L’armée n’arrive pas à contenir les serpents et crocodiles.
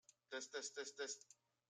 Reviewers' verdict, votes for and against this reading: rejected, 0, 2